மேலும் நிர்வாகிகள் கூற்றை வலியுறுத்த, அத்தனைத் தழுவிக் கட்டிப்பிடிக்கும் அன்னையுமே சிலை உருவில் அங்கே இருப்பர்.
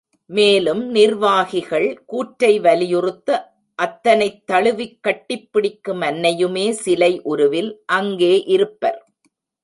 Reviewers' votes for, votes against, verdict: 1, 2, rejected